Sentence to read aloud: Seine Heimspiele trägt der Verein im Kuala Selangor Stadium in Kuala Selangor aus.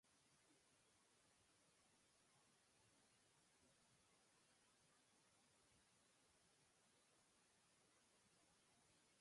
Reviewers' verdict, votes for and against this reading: rejected, 0, 4